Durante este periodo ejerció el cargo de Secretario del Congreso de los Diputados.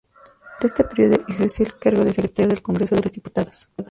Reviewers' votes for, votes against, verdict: 0, 4, rejected